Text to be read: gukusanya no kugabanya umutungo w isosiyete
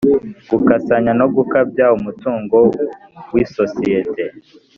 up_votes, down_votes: 0, 2